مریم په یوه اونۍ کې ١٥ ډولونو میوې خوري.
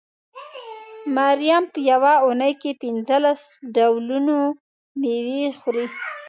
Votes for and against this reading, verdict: 0, 2, rejected